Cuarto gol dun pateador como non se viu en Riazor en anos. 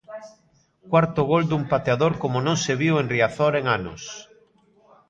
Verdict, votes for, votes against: rejected, 1, 2